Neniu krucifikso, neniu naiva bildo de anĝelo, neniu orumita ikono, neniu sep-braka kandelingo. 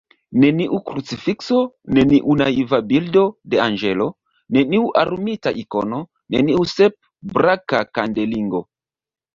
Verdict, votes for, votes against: rejected, 1, 2